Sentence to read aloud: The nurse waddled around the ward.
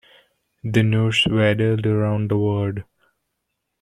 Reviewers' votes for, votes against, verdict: 1, 2, rejected